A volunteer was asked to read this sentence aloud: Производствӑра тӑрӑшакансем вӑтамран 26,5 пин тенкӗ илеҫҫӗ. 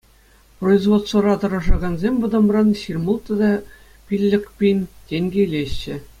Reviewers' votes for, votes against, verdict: 0, 2, rejected